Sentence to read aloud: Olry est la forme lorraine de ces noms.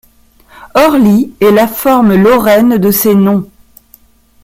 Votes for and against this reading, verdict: 0, 2, rejected